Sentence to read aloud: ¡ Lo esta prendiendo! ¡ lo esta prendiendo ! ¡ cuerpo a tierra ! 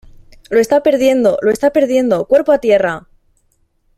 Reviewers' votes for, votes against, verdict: 0, 2, rejected